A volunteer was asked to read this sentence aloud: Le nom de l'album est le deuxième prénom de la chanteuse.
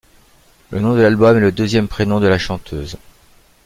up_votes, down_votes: 2, 0